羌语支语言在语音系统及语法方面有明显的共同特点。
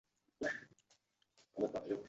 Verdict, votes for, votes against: rejected, 1, 2